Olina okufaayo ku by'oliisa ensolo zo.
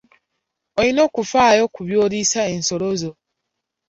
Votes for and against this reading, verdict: 3, 0, accepted